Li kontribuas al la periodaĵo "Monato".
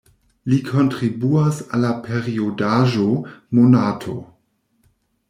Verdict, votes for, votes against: rejected, 1, 2